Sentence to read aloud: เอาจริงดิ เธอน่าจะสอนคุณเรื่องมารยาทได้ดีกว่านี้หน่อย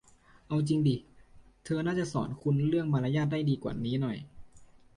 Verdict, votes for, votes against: accepted, 2, 0